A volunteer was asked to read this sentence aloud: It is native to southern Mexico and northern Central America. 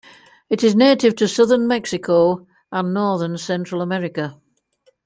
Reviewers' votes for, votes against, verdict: 2, 0, accepted